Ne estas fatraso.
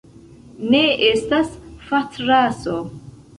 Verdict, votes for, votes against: accepted, 2, 0